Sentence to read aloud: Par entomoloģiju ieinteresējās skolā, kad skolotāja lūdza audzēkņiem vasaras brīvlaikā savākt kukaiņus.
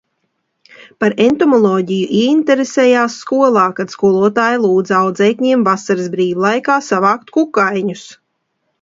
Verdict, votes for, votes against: accepted, 2, 0